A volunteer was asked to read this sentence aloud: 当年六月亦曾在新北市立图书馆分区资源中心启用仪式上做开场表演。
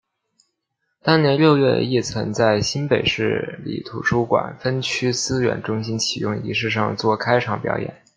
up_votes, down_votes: 2, 0